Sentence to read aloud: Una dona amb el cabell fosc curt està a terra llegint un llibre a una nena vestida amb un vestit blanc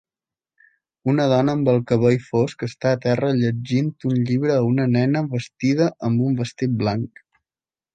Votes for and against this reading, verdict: 0, 2, rejected